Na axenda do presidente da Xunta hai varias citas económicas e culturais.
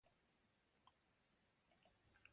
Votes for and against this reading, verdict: 0, 2, rejected